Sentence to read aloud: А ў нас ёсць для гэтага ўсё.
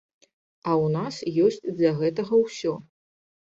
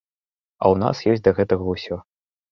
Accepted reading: first